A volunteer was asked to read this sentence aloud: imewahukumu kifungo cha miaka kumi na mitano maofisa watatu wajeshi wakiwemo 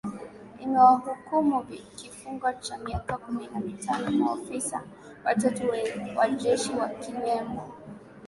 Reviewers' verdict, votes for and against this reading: accepted, 7, 2